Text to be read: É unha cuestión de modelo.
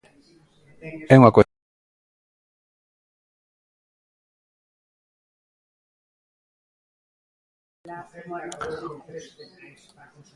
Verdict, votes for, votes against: rejected, 0, 2